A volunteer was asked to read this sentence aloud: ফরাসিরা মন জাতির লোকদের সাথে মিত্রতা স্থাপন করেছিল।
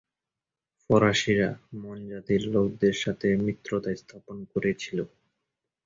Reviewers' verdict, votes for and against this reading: accepted, 2, 0